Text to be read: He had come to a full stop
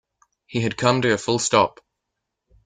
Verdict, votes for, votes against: accepted, 2, 1